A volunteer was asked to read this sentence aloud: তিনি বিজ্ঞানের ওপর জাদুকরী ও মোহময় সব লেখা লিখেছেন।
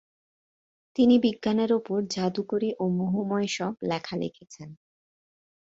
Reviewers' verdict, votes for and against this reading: accepted, 2, 1